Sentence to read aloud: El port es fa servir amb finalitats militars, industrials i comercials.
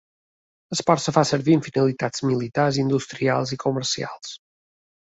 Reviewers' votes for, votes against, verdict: 2, 0, accepted